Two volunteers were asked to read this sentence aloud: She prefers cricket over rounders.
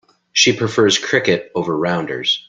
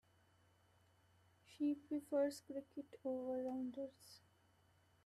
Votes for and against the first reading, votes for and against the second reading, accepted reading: 2, 0, 0, 2, first